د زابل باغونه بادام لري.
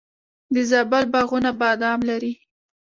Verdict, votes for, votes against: accepted, 3, 1